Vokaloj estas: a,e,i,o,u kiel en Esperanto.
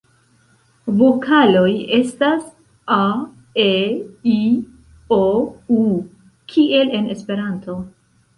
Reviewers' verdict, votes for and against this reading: accepted, 2, 1